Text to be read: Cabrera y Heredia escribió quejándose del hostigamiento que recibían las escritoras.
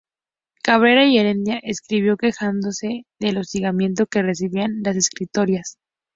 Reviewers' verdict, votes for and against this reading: rejected, 0, 2